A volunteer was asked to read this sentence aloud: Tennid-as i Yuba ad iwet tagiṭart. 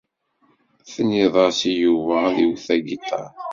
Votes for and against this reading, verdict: 1, 2, rejected